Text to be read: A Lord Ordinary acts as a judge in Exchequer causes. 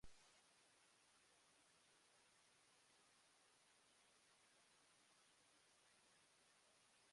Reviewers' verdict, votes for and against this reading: rejected, 0, 2